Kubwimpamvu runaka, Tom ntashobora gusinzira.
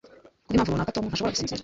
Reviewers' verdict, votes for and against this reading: accepted, 2, 1